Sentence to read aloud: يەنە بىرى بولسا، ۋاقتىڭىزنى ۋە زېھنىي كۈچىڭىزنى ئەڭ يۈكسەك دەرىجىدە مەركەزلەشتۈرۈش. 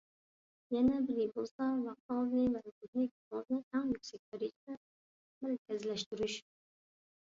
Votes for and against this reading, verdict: 1, 2, rejected